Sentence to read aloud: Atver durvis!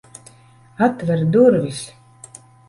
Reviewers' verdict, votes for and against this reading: accepted, 3, 0